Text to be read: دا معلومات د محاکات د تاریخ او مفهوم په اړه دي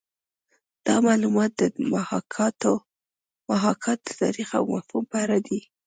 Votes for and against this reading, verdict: 2, 0, accepted